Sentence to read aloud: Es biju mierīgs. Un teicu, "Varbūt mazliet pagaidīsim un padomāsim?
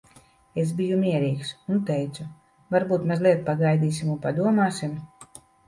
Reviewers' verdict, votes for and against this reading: accepted, 2, 0